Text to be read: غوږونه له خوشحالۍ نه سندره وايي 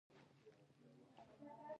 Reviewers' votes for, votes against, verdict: 1, 2, rejected